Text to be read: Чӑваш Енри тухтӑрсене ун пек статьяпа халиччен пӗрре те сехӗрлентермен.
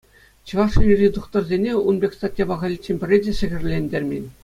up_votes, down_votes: 2, 0